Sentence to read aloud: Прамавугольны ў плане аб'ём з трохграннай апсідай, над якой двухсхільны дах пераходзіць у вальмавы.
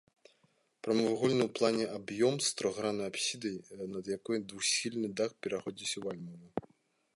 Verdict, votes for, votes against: rejected, 0, 2